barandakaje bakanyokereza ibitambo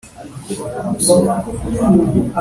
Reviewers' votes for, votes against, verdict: 1, 3, rejected